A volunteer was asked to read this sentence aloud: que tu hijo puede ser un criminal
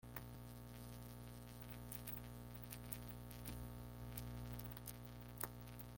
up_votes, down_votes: 0, 2